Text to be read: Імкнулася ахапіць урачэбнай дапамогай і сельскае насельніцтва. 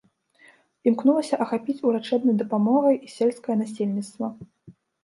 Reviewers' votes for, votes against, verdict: 2, 0, accepted